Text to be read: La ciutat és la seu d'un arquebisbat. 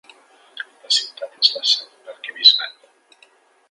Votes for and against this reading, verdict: 2, 0, accepted